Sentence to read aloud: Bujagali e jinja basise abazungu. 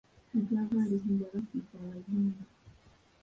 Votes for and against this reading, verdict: 0, 2, rejected